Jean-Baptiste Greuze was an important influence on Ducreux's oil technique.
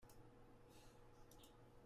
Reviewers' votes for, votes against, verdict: 0, 2, rejected